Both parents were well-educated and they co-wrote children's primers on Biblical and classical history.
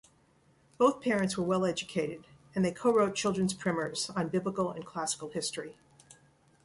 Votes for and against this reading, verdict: 2, 1, accepted